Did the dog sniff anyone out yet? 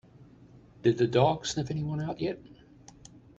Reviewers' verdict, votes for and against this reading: accepted, 2, 0